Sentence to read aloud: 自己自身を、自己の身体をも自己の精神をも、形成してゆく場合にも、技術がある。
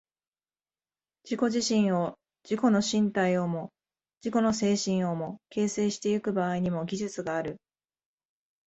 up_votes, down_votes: 2, 0